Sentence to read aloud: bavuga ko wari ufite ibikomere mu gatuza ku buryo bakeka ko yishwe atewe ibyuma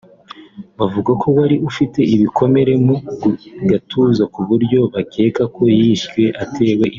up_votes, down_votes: 1, 3